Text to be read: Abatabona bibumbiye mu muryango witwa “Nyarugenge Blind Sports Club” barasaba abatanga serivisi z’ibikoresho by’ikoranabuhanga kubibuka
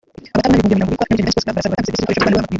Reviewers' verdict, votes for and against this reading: rejected, 0, 3